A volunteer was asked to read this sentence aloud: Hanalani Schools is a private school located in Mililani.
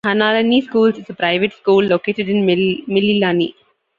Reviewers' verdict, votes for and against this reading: rejected, 1, 2